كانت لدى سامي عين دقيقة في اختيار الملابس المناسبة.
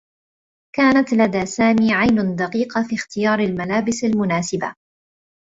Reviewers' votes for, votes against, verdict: 2, 0, accepted